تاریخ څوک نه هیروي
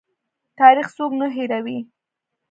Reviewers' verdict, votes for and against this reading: accepted, 2, 0